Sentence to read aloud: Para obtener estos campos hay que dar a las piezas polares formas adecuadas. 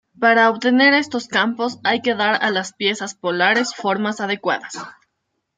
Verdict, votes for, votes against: rejected, 1, 2